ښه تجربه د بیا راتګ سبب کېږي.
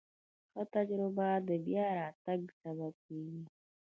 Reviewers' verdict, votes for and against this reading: rejected, 0, 2